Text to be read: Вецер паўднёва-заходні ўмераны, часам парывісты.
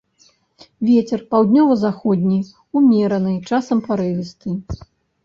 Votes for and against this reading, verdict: 1, 2, rejected